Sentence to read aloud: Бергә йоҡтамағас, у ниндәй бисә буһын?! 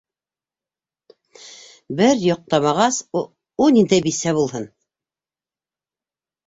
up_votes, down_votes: 0, 2